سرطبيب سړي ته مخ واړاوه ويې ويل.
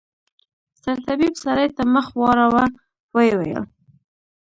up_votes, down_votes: 1, 2